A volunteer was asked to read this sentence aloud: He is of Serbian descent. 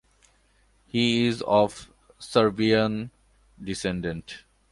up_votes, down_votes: 1, 2